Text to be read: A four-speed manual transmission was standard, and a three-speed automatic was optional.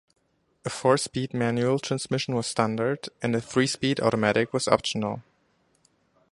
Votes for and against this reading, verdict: 2, 0, accepted